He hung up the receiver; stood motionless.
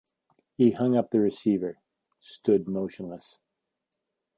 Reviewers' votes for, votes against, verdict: 2, 0, accepted